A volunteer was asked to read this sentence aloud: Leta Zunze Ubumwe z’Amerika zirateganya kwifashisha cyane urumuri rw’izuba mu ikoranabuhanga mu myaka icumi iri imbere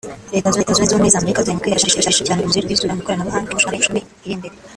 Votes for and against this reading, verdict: 2, 3, rejected